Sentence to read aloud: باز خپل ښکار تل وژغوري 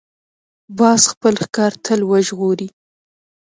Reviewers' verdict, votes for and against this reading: rejected, 1, 2